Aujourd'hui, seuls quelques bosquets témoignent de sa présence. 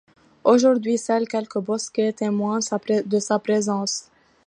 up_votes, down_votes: 0, 2